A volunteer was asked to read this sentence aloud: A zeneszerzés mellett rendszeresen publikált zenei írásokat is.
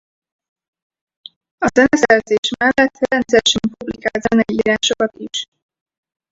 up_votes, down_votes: 0, 4